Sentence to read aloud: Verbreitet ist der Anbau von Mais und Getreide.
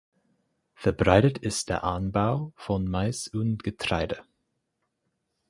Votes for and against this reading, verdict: 4, 0, accepted